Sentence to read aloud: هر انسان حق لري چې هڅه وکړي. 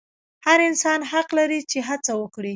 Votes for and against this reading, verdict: 2, 0, accepted